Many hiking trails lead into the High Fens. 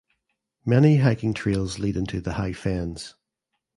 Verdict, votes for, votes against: accepted, 2, 0